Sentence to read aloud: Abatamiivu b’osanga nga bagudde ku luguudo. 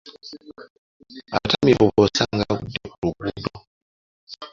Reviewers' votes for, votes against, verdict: 0, 2, rejected